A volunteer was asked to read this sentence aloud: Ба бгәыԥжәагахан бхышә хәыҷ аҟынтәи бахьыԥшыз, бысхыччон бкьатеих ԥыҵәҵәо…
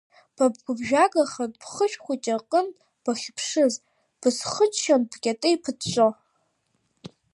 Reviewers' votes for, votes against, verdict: 2, 1, accepted